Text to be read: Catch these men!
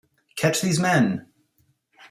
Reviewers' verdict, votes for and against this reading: accepted, 2, 0